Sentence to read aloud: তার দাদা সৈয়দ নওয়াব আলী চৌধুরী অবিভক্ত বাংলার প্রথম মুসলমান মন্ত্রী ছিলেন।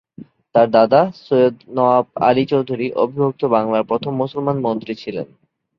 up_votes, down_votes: 3, 0